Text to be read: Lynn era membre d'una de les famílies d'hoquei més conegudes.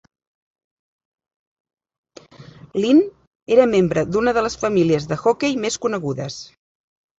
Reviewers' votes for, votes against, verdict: 1, 2, rejected